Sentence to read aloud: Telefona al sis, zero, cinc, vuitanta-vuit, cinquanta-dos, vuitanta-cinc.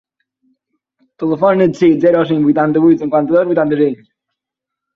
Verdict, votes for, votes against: rejected, 2, 4